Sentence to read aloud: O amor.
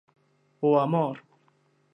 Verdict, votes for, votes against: accepted, 2, 0